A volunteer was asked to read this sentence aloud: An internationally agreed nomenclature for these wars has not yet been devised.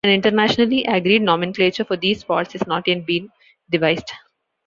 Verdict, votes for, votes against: rejected, 0, 3